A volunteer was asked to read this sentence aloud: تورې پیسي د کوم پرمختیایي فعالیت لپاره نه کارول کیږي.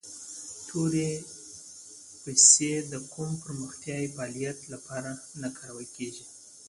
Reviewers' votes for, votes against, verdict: 2, 1, accepted